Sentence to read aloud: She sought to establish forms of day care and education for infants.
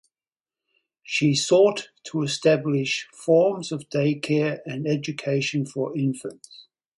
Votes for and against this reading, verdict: 2, 2, rejected